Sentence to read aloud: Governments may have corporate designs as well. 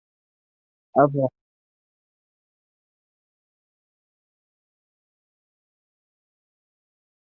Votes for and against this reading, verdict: 0, 2, rejected